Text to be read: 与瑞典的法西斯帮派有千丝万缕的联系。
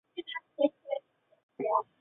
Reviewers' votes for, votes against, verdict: 0, 2, rejected